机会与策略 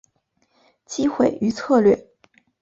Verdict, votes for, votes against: accepted, 5, 0